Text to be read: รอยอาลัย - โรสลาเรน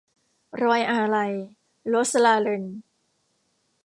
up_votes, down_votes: 1, 2